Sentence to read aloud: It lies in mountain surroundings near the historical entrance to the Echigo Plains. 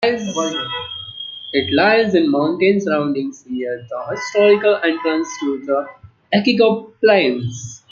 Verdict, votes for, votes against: rejected, 1, 2